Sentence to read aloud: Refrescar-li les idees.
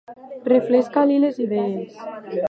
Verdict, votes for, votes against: rejected, 0, 2